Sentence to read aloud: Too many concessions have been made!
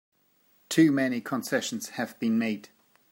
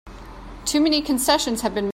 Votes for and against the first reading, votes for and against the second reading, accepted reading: 3, 0, 0, 3, first